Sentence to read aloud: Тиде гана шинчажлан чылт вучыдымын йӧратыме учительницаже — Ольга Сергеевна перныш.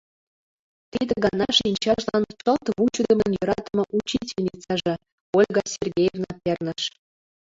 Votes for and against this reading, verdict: 1, 3, rejected